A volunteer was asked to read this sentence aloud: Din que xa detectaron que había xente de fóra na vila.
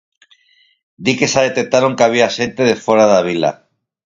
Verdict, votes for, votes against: rejected, 0, 4